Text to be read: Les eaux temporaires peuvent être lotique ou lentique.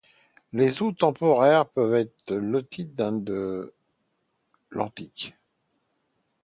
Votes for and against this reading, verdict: 1, 2, rejected